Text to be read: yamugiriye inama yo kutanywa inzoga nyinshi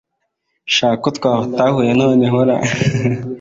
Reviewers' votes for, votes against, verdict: 0, 2, rejected